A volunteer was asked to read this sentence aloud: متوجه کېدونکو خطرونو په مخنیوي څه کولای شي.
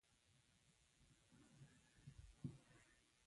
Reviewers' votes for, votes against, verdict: 0, 2, rejected